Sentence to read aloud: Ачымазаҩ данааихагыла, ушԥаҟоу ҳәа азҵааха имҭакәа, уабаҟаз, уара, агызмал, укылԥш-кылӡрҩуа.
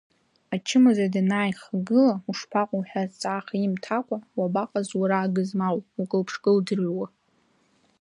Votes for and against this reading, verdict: 0, 2, rejected